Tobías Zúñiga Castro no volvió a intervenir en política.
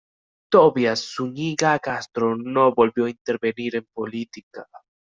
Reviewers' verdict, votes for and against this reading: accepted, 2, 0